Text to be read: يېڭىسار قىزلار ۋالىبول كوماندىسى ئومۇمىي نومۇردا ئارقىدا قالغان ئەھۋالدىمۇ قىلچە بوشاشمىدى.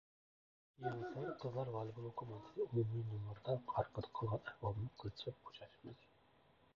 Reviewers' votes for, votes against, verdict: 0, 2, rejected